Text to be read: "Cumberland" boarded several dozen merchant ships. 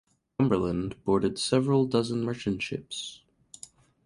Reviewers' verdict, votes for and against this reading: rejected, 0, 2